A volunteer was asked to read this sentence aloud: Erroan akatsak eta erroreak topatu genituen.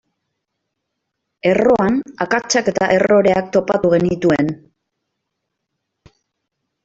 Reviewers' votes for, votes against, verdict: 2, 0, accepted